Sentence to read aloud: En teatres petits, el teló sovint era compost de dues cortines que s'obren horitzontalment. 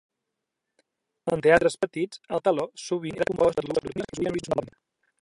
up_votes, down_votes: 0, 2